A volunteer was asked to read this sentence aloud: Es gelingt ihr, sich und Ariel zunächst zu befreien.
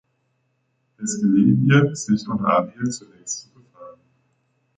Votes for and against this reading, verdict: 1, 2, rejected